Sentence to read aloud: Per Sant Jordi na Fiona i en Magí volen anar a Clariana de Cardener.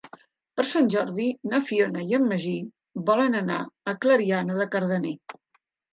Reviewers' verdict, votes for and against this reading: accepted, 3, 0